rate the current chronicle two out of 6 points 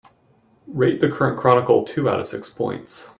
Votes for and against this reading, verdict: 0, 2, rejected